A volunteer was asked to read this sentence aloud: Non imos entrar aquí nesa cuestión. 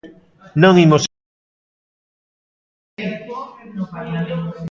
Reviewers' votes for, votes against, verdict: 0, 2, rejected